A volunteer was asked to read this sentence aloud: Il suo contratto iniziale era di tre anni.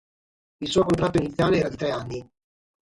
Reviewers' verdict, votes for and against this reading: rejected, 3, 3